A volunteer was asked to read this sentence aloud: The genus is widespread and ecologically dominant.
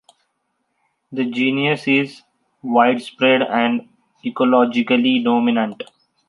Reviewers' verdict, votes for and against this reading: rejected, 0, 2